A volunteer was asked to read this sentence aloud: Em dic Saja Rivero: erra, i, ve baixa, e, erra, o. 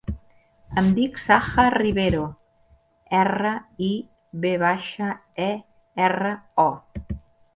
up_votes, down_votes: 2, 0